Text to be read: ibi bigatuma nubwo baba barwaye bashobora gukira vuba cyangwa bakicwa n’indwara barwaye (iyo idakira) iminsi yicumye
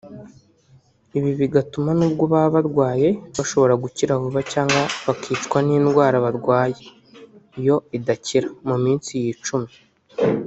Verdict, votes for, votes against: rejected, 1, 2